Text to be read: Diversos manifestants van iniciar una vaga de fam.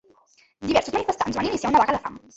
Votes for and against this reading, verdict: 2, 3, rejected